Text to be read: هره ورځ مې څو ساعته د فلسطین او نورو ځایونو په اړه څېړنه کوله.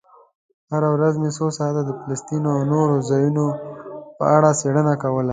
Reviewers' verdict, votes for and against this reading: accepted, 2, 0